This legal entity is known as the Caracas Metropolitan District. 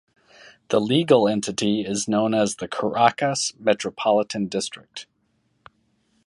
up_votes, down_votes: 2, 0